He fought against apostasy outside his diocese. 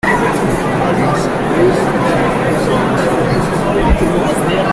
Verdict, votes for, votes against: rejected, 0, 2